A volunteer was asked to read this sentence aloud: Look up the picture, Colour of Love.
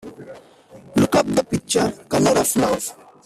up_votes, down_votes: 1, 2